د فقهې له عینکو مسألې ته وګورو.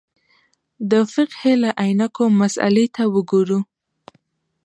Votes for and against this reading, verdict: 2, 0, accepted